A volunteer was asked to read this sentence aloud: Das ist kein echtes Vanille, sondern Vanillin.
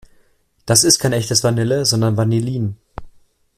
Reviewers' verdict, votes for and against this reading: accepted, 2, 0